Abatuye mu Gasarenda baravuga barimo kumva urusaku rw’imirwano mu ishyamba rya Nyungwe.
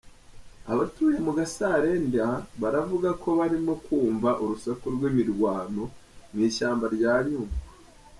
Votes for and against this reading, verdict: 1, 2, rejected